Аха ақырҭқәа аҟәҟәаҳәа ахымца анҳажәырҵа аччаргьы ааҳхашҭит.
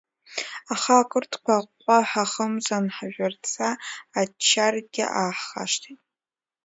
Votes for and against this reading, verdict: 0, 2, rejected